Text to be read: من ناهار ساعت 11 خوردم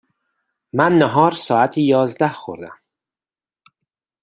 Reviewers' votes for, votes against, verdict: 0, 2, rejected